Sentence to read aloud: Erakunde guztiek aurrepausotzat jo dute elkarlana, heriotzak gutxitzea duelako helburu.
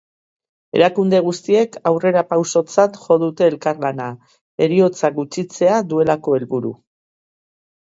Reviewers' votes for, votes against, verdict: 2, 0, accepted